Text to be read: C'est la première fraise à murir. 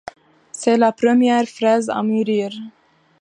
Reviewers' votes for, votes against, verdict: 2, 0, accepted